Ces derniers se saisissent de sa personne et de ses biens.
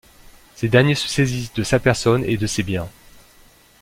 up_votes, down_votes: 2, 0